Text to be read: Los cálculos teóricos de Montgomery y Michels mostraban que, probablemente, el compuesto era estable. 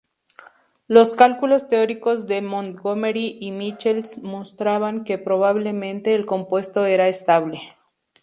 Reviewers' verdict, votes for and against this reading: accepted, 4, 0